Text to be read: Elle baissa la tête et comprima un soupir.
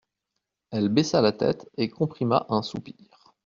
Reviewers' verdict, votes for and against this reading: accepted, 2, 0